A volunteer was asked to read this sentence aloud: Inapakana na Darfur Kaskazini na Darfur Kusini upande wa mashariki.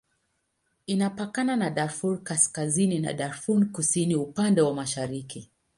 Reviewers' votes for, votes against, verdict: 2, 0, accepted